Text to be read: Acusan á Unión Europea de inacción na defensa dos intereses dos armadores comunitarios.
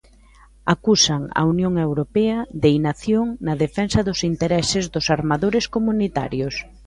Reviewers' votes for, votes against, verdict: 1, 2, rejected